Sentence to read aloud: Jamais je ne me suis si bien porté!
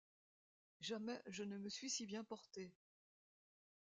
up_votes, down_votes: 2, 1